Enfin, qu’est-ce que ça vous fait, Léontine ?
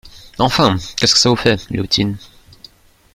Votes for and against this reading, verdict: 1, 2, rejected